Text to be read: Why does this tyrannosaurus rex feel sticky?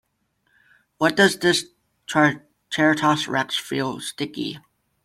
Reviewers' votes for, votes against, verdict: 0, 2, rejected